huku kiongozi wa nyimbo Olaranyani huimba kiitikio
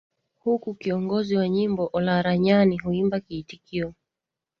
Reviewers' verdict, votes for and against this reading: accepted, 2, 1